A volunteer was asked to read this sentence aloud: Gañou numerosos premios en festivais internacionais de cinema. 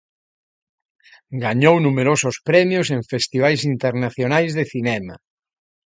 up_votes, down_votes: 2, 0